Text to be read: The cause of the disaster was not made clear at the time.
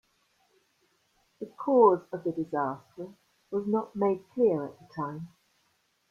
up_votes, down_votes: 2, 0